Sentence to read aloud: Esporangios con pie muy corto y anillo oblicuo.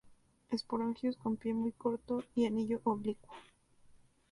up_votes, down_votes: 2, 2